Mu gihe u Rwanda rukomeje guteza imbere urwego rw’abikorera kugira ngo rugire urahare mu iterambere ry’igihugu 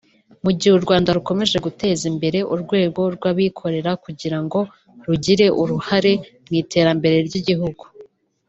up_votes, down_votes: 2, 1